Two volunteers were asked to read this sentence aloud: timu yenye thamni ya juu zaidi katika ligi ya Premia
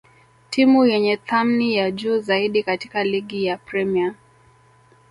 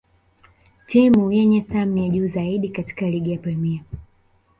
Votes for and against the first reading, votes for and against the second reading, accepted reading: 2, 1, 1, 2, first